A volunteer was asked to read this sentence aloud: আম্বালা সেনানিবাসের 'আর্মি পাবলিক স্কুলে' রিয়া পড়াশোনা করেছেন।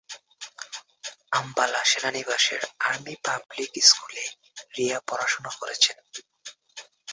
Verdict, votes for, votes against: rejected, 1, 2